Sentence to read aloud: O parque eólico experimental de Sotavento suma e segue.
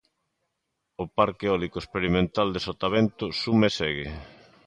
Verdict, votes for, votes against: accepted, 2, 0